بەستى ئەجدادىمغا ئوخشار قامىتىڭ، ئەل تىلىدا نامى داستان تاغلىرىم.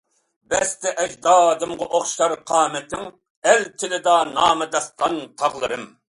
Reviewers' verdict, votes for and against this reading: accepted, 2, 0